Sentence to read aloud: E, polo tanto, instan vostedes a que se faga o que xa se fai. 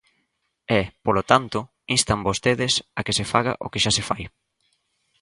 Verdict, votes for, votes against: accepted, 2, 0